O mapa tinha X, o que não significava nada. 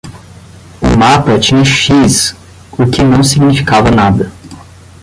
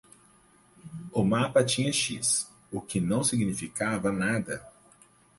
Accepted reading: second